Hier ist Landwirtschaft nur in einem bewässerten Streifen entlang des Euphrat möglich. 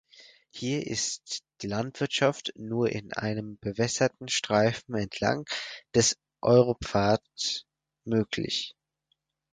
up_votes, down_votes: 0, 4